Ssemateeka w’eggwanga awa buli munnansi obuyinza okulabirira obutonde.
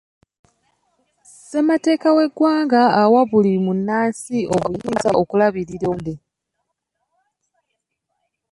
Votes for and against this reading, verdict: 0, 2, rejected